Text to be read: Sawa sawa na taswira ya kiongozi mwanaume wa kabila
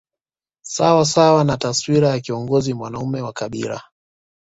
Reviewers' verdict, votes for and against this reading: accepted, 2, 0